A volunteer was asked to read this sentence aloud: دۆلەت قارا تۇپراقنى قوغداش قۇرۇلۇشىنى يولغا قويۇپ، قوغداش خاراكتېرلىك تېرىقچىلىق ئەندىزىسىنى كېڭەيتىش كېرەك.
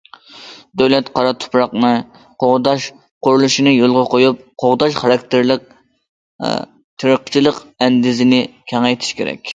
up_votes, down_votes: 0, 2